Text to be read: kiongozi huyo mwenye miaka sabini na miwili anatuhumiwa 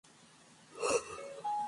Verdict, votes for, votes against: rejected, 1, 10